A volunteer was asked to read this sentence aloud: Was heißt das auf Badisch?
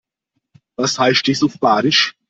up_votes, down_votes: 1, 2